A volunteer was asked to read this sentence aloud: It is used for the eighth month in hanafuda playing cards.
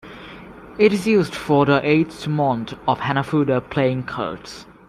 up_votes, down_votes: 0, 2